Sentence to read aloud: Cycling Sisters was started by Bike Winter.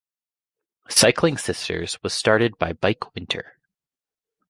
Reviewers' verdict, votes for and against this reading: accepted, 2, 0